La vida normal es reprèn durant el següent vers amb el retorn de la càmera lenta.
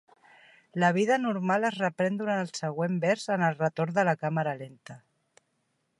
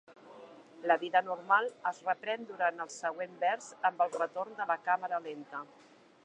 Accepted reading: first